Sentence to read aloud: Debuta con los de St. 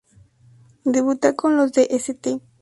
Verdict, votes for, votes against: accepted, 4, 0